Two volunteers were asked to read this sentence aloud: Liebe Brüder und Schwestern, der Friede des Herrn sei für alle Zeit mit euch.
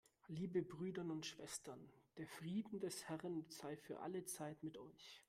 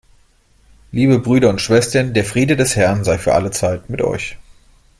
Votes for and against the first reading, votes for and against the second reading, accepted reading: 1, 2, 3, 0, second